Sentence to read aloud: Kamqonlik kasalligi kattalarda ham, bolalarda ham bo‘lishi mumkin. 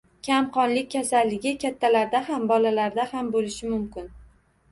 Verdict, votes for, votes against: accepted, 2, 0